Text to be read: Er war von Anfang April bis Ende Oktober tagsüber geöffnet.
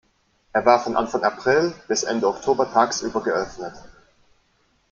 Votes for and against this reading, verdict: 2, 0, accepted